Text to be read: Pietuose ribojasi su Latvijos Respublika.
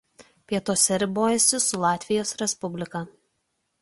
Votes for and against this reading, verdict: 2, 0, accepted